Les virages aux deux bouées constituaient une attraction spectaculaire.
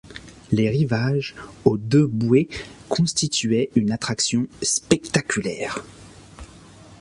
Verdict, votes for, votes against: rejected, 0, 2